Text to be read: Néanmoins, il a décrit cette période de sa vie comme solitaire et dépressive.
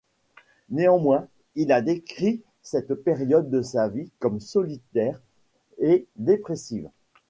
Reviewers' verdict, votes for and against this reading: accepted, 2, 1